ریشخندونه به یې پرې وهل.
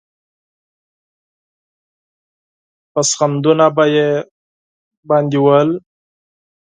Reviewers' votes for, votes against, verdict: 2, 4, rejected